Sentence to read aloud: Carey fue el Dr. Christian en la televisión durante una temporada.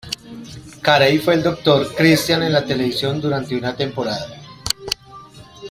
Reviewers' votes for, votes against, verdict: 1, 2, rejected